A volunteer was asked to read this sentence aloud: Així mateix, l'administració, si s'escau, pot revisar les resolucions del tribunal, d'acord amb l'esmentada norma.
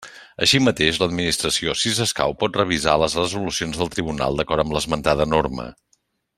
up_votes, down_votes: 2, 0